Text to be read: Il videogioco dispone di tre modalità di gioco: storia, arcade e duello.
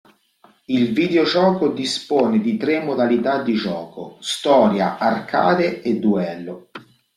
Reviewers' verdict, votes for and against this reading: rejected, 0, 2